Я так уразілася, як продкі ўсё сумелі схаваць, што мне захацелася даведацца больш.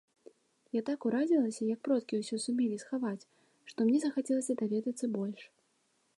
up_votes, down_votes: 2, 0